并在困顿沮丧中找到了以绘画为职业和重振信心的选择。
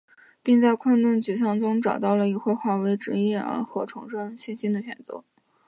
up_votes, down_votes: 6, 0